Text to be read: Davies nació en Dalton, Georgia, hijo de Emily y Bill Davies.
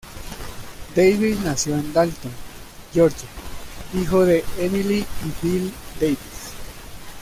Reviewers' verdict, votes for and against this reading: rejected, 0, 2